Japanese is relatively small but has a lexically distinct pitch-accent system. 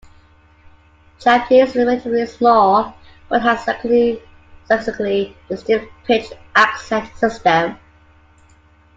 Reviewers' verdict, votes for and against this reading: rejected, 0, 2